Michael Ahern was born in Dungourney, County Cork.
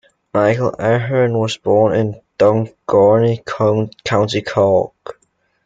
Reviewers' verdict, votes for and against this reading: rejected, 0, 2